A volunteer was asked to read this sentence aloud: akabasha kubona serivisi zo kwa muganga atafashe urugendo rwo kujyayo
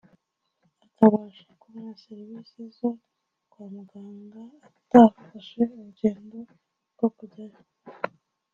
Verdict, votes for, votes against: rejected, 1, 2